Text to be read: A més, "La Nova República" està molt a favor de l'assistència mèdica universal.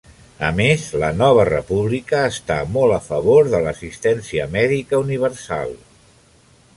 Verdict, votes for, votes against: accepted, 3, 0